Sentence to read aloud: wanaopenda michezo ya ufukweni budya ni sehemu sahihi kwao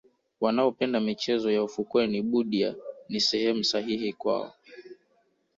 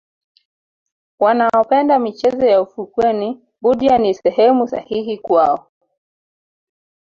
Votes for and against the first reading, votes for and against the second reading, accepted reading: 0, 2, 2, 1, second